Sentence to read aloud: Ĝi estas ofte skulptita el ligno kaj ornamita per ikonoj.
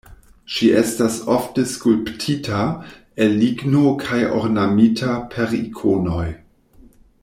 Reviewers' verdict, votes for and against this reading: rejected, 1, 2